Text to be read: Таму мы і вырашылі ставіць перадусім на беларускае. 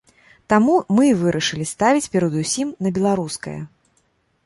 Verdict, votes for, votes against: accepted, 2, 0